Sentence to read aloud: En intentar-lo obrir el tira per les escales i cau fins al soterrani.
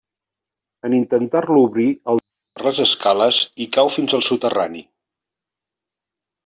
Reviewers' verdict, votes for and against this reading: rejected, 0, 2